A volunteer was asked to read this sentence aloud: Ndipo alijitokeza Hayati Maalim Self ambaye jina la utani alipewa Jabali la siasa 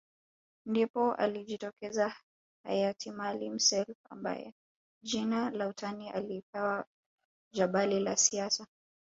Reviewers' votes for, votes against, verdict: 0, 2, rejected